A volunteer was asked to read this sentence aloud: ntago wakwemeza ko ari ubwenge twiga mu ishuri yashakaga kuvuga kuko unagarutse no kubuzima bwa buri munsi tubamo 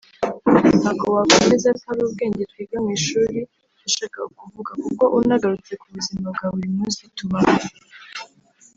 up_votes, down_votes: 1, 2